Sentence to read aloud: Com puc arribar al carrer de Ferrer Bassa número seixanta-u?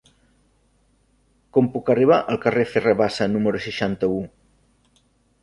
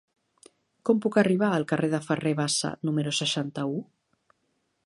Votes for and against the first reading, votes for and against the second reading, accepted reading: 1, 2, 3, 0, second